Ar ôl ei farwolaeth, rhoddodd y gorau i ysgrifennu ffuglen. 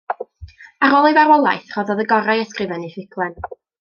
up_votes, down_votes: 0, 2